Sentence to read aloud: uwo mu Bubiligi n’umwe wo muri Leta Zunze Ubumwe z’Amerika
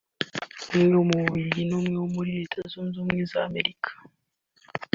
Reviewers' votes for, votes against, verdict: 3, 1, accepted